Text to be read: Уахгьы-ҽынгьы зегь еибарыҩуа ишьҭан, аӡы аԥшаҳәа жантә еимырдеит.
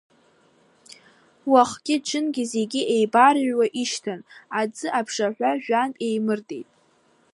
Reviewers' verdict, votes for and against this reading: rejected, 1, 2